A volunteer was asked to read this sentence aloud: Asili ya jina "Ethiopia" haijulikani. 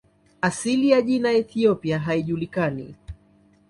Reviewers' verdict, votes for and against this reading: accepted, 2, 1